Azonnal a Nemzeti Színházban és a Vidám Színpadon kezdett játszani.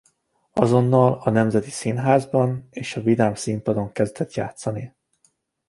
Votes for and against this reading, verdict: 2, 0, accepted